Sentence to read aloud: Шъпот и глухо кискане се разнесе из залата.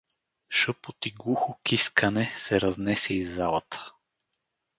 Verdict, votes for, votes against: accepted, 4, 0